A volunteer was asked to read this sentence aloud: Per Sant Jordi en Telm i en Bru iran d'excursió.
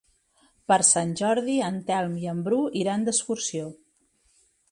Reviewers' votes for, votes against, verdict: 3, 0, accepted